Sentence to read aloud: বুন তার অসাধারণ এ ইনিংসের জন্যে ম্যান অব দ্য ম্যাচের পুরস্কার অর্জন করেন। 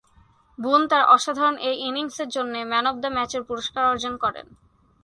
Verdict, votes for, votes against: accepted, 2, 0